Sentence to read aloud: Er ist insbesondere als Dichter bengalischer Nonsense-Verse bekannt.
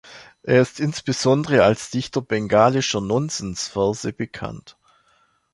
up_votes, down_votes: 2, 0